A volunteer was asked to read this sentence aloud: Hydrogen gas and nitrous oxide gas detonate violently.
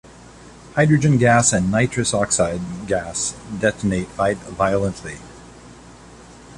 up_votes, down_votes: 1, 2